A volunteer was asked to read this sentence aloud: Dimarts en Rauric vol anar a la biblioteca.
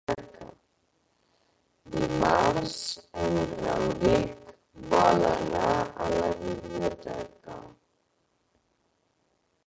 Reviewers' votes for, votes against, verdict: 0, 2, rejected